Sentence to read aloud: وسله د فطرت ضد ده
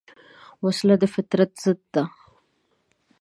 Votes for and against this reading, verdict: 1, 2, rejected